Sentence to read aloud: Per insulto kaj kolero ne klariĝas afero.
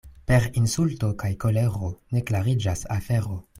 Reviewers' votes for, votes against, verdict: 2, 0, accepted